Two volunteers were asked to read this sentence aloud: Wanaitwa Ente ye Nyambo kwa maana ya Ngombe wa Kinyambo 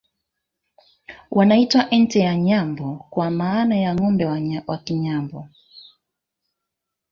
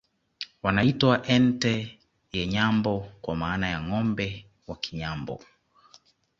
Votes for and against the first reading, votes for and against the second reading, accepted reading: 0, 2, 2, 0, second